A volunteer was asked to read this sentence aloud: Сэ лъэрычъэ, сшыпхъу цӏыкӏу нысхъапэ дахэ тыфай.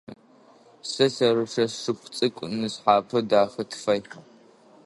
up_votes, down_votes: 3, 0